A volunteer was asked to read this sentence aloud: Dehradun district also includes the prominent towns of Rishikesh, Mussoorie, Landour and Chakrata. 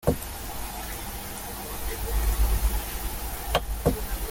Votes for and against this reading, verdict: 0, 2, rejected